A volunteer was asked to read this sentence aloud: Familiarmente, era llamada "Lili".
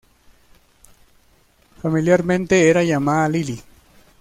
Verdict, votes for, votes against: accepted, 2, 1